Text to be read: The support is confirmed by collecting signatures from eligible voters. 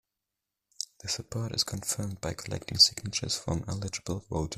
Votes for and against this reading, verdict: 1, 2, rejected